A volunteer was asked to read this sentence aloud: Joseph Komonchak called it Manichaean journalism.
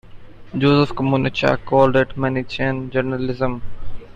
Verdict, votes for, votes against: accepted, 2, 1